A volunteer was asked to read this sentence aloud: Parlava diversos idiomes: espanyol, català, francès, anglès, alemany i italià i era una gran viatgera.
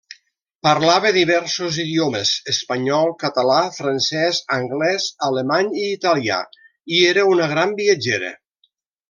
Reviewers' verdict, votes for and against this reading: accepted, 3, 0